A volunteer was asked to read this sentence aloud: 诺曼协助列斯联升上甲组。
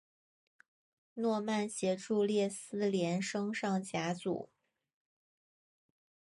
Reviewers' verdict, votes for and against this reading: accepted, 2, 0